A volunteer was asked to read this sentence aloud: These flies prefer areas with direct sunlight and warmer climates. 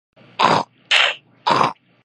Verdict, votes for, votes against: rejected, 0, 2